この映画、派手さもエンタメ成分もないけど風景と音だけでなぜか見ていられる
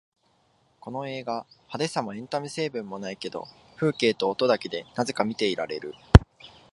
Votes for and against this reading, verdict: 2, 1, accepted